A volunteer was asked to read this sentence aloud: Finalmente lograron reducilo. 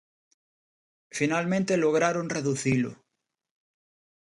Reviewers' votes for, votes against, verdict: 2, 0, accepted